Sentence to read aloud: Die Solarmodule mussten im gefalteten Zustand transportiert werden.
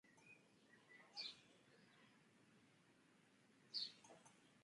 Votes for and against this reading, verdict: 0, 2, rejected